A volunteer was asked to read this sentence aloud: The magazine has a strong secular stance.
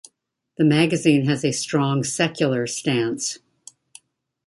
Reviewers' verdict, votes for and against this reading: accepted, 2, 0